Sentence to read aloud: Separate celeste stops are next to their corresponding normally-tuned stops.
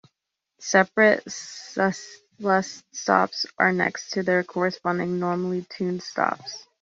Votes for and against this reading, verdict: 1, 2, rejected